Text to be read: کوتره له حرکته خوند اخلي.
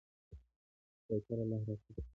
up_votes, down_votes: 1, 2